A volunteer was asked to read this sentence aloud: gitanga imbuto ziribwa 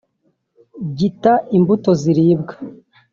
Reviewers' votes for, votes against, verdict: 1, 2, rejected